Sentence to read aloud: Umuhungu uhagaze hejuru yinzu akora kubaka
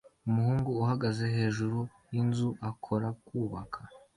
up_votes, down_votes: 2, 0